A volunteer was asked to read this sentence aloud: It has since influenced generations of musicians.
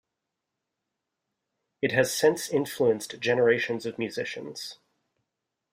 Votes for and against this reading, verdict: 1, 2, rejected